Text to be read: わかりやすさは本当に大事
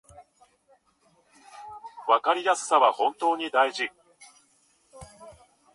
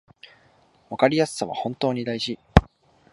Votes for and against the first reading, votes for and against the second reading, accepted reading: 1, 2, 2, 0, second